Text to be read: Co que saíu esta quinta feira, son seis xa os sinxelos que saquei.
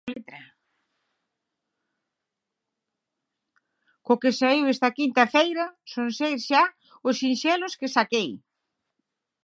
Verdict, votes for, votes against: accepted, 6, 3